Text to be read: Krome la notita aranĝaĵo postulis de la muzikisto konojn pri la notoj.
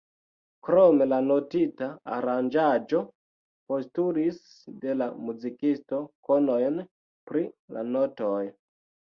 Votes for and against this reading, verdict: 1, 3, rejected